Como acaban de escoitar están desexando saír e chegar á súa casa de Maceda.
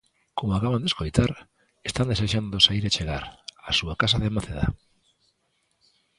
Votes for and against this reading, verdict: 2, 1, accepted